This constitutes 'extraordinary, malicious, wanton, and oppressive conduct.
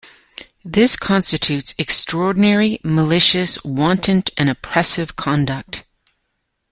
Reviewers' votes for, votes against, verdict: 2, 1, accepted